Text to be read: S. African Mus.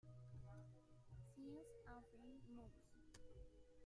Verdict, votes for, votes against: rejected, 0, 2